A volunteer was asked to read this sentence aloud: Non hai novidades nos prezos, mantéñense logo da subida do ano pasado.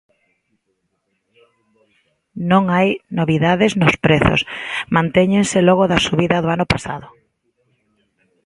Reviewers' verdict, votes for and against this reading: accepted, 2, 0